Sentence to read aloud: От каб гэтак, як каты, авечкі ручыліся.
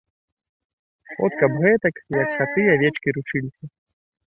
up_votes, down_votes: 0, 2